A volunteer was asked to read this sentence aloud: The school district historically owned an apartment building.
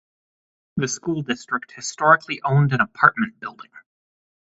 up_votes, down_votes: 0, 8